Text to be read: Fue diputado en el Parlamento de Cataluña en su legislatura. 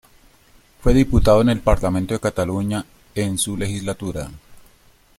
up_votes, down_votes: 0, 2